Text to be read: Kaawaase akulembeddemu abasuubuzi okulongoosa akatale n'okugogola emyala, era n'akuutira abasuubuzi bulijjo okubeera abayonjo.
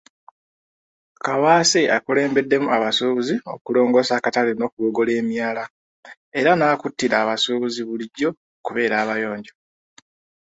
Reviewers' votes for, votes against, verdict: 2, 0, accepted